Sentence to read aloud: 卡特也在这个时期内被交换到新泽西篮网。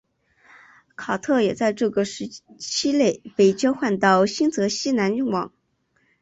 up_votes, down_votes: 2, 0